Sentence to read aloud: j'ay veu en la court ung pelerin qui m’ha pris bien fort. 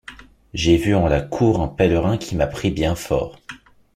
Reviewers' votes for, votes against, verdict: 0, 2, rejected